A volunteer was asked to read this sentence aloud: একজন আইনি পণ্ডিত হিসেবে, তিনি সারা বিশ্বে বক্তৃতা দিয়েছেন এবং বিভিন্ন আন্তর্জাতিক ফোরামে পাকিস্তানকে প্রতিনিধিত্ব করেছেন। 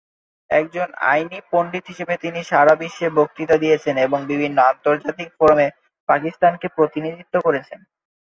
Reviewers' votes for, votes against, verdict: 2, 0, accepted